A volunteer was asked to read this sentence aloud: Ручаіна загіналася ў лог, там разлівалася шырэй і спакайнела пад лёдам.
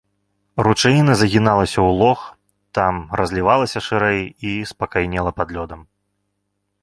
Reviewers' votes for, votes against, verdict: 2, 0, accepted